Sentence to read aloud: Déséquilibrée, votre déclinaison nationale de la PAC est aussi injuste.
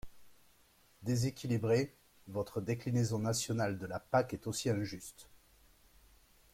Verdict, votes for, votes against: accepted, 2, 0